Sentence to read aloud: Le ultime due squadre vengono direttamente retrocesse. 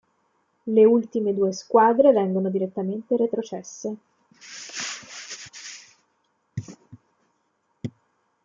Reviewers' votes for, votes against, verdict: 2, 0, accepted